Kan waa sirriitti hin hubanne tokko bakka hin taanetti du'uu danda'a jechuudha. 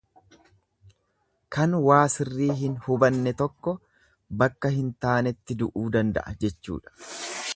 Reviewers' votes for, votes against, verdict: 1, 2, rejected